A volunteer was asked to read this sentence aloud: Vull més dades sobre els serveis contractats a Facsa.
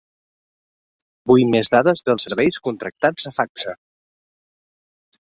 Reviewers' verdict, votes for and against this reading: rejected, 0, 2